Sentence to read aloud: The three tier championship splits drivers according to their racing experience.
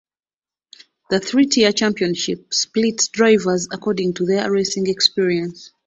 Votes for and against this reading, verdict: 2, 1, accepted